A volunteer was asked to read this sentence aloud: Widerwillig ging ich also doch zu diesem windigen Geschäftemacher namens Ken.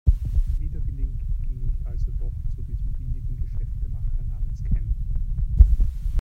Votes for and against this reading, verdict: 1, 2, rejected